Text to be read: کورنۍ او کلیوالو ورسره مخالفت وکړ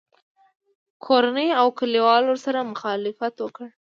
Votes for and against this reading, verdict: 2, 0, accepted